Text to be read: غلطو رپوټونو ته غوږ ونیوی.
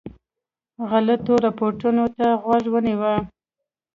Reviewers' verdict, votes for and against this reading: rejected, 1, 2